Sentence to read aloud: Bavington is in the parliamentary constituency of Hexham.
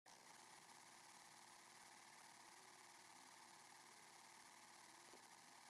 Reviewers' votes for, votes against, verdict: 0, 2, rejected